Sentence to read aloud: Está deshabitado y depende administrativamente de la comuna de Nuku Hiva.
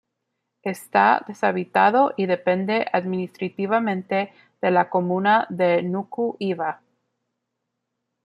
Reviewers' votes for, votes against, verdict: 1, 2, rejected